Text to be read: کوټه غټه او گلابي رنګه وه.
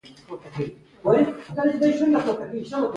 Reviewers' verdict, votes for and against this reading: accepted, 2, 0